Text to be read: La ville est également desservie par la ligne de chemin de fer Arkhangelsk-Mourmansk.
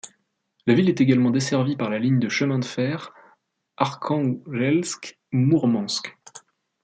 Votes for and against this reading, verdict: 2, 1, accepted